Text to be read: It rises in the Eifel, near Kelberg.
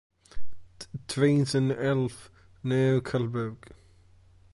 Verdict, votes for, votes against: rejected, 0, 2